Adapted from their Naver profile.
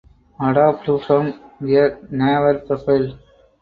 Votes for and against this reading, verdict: 2, 4, rejected